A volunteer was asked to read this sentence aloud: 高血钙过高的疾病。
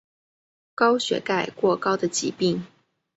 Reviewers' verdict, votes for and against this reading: accepted, 3, 0